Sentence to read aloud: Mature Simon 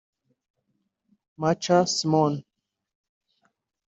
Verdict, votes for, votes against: rejected, 0, 2